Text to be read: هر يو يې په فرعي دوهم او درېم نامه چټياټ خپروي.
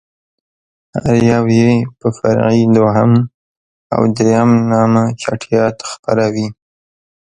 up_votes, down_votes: 0, 2